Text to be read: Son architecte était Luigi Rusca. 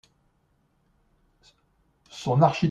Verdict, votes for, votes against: rejected, 0, 2